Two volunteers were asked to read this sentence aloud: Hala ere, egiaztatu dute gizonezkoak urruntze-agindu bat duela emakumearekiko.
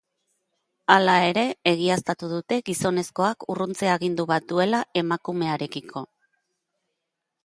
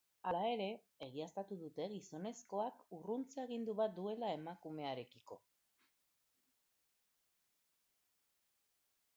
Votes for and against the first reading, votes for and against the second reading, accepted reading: 2, 0, 1, 2, first